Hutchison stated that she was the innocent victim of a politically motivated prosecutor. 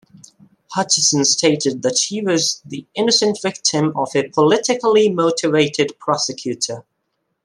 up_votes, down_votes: 2, 0